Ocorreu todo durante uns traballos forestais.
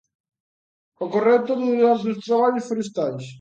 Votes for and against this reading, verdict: 2, 1, accepted